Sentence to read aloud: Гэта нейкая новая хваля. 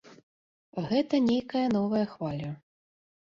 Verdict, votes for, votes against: accepted, 2, 0